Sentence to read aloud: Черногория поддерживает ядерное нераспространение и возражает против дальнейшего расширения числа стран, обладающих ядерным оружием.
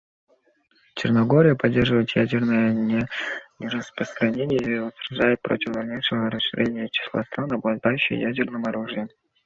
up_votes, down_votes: 1, 2